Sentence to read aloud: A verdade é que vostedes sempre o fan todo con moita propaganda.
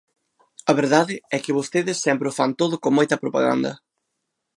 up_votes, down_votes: 2, 0